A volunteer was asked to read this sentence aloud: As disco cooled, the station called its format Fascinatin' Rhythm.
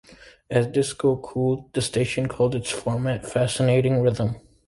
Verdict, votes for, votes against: accepted, 2, 0